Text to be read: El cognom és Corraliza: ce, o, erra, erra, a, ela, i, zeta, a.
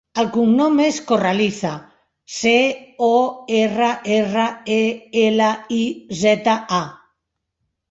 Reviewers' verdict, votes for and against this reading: rejected, 0, 2